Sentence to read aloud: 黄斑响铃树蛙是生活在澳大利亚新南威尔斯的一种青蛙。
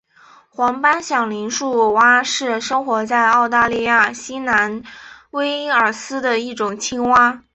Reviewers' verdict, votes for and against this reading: accepted, 3, 0